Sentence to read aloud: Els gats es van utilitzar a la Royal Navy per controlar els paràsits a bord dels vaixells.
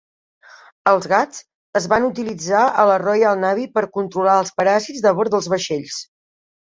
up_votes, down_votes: 0, 2